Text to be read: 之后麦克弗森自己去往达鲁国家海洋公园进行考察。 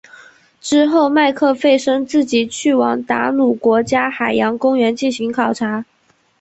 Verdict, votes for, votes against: accepted, 3, 0